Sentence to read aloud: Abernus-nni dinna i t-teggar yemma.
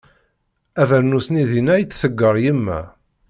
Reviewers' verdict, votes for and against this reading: rejected, 1, 2